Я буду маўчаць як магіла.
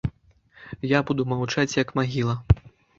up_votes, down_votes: 2, 0